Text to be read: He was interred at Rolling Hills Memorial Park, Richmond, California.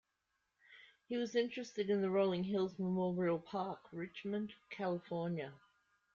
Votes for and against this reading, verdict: 1, 2, rejected